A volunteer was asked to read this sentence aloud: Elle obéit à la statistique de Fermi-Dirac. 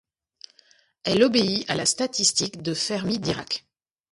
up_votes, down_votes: 2, 0